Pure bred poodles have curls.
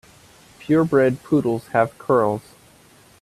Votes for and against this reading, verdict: 2, 0, accepted